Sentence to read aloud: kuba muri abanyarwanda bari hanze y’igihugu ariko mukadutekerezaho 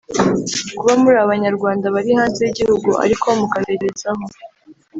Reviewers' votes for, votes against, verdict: 1, 2, rejected